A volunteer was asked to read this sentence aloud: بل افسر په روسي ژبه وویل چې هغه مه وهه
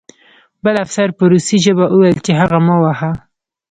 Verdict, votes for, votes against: rejected, 1, 2